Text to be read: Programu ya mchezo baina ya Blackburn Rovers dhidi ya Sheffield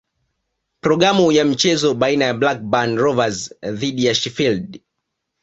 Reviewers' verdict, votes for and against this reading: accepted, 2, 0